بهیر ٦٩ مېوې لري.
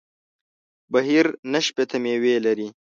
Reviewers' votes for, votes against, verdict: 0, 2, rejected